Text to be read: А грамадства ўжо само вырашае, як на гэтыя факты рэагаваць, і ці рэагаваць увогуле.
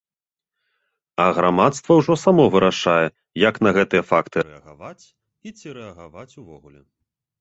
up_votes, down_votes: 2, 0